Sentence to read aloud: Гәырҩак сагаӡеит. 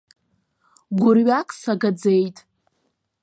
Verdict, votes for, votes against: rejected, 1, 2